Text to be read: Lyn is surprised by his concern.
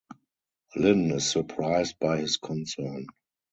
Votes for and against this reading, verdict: 0, 2, rejected